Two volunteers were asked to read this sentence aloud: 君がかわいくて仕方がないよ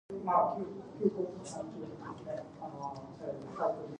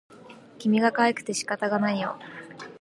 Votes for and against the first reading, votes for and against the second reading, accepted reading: 0, 2, 2, 0, second